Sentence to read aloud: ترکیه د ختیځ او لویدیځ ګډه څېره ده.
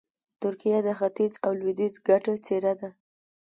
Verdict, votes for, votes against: accepted, 2, 0